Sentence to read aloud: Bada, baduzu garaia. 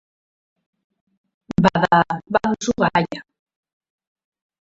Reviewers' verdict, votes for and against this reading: rejected, 0, 2